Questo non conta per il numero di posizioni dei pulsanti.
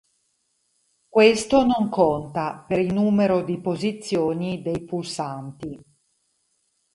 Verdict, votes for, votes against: accepted, 4, 0